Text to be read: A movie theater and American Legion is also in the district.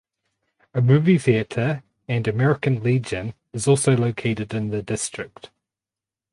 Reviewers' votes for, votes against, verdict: 0, 4, rejected